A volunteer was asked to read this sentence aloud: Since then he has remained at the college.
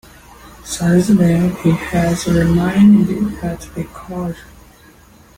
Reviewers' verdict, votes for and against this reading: rejected, 1, 2